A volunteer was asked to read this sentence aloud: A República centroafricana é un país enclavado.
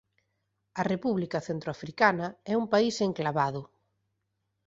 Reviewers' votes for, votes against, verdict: 2, 1, accepted